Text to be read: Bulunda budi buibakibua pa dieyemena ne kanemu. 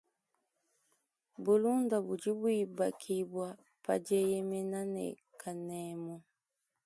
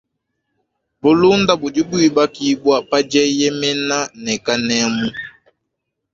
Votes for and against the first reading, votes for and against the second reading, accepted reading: 2, 0, 0, 2, first